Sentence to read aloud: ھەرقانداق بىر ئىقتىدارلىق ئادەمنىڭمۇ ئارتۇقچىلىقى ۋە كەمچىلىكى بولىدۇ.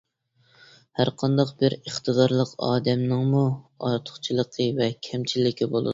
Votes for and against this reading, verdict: 2, 0, accepted